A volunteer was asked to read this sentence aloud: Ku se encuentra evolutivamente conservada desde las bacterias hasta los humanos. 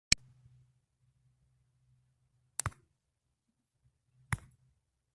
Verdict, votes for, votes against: rejected, 0, 2